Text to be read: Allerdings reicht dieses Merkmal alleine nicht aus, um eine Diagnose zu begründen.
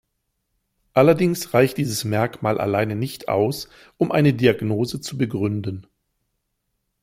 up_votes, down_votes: 2, 0